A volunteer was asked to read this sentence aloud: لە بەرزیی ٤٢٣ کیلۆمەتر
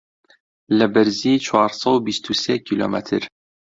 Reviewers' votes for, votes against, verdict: 0, 2, rejected